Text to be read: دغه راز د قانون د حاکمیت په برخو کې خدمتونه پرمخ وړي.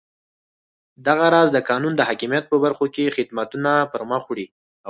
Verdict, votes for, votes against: accepted, 4, 0